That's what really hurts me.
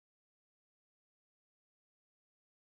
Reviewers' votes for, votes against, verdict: 0, 2, rejected